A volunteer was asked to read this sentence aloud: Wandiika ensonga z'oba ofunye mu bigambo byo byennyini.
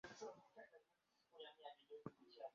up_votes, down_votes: 0, 2